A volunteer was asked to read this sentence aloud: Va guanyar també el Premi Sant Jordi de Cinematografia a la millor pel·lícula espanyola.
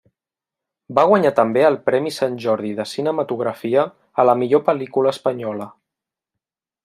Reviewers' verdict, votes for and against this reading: accepted, 3, 0